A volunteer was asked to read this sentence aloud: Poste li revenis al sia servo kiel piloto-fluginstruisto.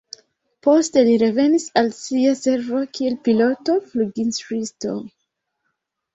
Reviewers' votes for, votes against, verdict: 2, 1, accepted